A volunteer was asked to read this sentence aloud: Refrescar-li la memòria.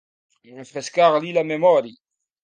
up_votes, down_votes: 0, 2